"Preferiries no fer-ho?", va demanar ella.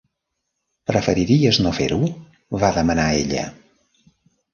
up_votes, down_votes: 3, 0